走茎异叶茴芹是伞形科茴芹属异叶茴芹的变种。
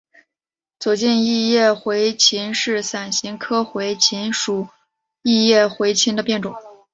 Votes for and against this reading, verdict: 3, 0, accepted